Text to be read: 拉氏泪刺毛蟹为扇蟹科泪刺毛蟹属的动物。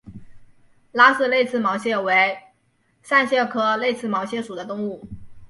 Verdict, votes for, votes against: accepted, 3, 1